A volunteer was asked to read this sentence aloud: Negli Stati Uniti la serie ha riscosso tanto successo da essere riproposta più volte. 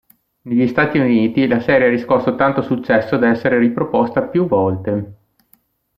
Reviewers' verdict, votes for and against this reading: accepted, 2, 0